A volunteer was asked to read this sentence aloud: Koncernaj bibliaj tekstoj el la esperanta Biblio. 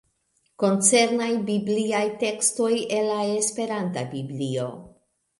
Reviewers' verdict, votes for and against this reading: accepted, 2, 1